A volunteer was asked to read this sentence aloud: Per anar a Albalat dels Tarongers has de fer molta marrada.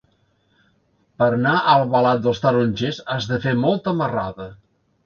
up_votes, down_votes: 2, 1